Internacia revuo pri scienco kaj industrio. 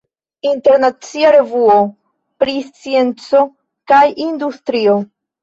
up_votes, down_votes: 2, 1